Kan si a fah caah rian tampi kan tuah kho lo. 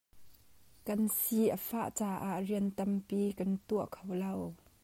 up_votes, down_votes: 0, 2